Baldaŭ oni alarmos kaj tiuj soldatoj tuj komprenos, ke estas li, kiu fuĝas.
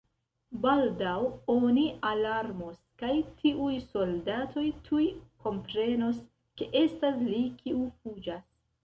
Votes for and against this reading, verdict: 2, 0, accepted